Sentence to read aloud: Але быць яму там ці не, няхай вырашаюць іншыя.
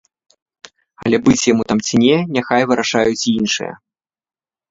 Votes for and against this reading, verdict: 2, 0, accepted